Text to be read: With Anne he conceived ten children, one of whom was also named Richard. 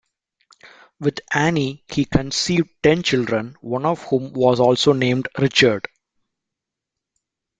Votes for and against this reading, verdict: 0, 2, rejected